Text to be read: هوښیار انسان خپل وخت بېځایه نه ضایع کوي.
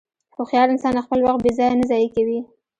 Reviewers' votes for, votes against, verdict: 2, 1, accepted